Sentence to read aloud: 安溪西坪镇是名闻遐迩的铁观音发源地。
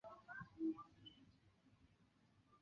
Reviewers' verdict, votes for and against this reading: rejected, 0, 3